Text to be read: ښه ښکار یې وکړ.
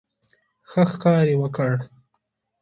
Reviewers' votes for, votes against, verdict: 2, 1, accepted